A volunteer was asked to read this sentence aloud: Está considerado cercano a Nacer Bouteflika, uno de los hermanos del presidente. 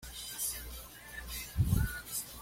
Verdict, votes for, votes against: rejected, 1, 2